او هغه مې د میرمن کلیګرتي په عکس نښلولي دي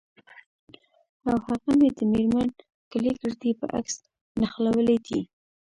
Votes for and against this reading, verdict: 2, 0, accepted